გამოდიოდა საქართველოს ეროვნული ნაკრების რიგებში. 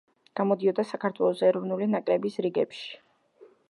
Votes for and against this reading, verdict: 2, 0, accepted